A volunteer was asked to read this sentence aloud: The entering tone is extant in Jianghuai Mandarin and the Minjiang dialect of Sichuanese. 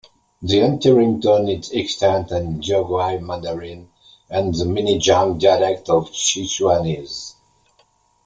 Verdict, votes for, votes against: accepted, 2, 0